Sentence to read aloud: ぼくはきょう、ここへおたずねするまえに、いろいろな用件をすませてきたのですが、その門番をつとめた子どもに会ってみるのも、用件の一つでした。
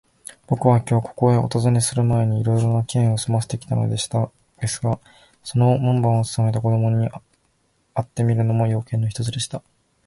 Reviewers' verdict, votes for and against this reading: rejected, 0, 2